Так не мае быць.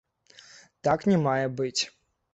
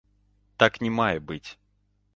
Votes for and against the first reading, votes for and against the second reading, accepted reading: 0, 2, 2, 0, second